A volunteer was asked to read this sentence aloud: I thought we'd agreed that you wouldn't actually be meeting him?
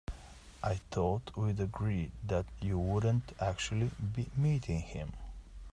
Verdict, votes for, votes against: accepted, 2, 0